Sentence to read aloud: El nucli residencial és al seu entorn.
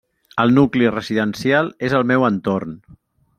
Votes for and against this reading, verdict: 1, 2, rejected